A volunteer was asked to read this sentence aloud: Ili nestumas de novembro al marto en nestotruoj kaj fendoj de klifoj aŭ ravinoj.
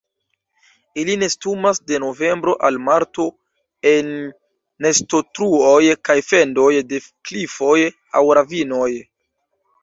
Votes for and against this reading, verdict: 2, 0, accepted